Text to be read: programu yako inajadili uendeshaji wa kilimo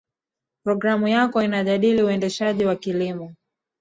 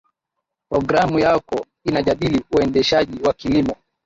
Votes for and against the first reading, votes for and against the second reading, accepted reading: 0, 2, 6, 5, second